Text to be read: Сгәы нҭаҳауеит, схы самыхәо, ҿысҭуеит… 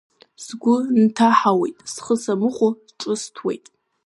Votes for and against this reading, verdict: 2, 1, accepted